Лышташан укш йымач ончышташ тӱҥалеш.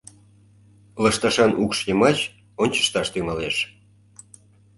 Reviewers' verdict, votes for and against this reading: accepted, 2, 0